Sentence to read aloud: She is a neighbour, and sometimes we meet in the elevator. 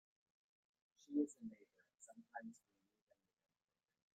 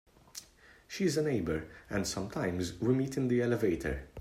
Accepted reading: second